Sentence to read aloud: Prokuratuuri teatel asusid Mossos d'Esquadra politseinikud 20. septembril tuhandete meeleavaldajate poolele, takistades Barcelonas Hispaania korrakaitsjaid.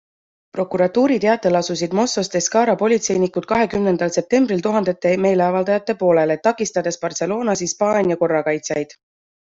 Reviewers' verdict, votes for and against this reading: rejected, 0, 2